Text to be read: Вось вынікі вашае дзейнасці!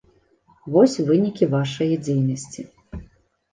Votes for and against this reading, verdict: 2, 0, accepted